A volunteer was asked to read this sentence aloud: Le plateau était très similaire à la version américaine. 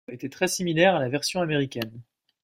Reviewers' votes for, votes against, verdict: 0, 2, rejected